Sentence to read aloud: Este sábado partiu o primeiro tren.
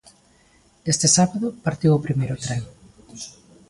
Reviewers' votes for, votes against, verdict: 2, 1, accepted